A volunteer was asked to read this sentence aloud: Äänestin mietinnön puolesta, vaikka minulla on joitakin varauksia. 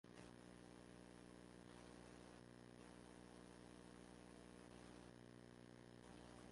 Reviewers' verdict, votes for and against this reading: rejected, 0, 2